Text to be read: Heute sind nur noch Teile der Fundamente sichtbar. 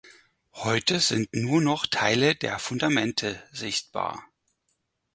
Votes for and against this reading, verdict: 4, 0, accepted